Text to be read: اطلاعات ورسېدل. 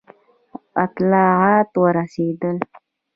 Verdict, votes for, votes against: accepted, 2, 1